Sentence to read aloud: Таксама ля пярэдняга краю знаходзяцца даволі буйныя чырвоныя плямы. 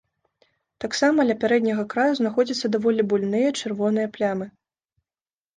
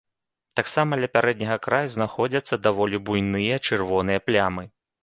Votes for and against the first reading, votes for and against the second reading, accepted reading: 0, 2, 2, 0, second